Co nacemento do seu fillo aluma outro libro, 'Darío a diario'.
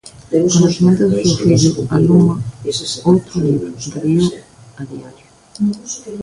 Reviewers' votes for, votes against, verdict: 0, 2, rejected